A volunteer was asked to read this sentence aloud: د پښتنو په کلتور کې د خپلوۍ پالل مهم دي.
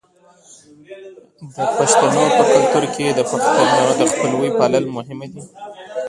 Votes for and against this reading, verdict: 1, 2, rejected